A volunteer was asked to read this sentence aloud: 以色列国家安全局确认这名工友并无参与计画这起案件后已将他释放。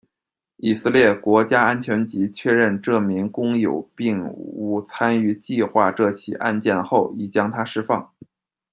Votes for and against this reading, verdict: 2, 0, accepted